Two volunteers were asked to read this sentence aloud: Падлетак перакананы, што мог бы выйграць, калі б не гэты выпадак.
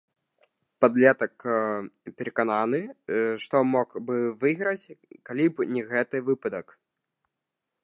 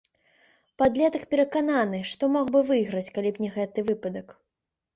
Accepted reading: second